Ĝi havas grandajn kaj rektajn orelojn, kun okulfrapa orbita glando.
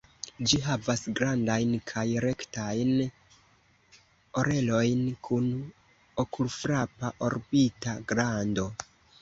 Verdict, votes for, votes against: rejected, 1, 2